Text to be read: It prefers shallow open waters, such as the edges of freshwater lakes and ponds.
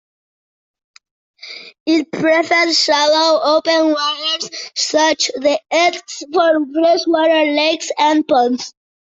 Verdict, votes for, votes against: rejected, 0, 2